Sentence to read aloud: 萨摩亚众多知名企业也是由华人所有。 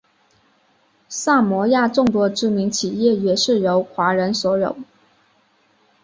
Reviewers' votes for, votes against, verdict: 2, 0, accepted